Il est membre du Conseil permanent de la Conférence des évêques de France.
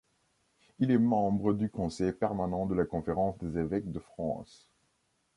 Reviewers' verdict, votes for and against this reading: accepted, 2, 0